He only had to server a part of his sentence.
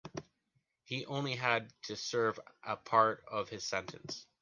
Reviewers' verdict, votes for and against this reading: accepted, 2, 0